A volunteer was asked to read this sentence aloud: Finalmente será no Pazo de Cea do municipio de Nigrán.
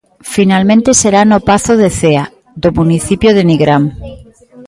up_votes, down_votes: 0, 2